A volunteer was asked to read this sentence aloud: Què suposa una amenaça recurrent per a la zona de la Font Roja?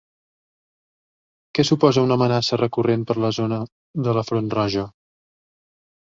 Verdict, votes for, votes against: rejected, 0, 2